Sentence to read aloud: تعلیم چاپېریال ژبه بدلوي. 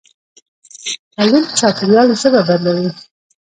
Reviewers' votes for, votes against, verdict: 0, 2, rejected